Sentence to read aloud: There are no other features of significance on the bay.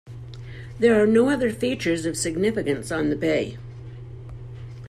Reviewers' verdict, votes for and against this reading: accepted, 2, 0